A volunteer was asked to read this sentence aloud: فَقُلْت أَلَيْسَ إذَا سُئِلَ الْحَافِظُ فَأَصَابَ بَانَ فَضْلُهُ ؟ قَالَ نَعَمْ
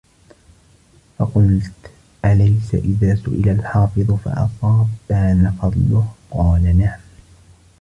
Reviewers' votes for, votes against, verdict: 3, 0, accepted